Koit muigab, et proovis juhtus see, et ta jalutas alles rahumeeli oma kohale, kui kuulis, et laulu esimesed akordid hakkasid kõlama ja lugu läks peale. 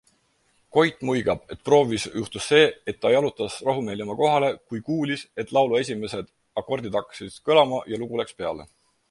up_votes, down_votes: 4, 0